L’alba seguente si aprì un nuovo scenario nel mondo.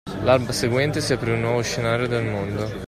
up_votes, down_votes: 2, 0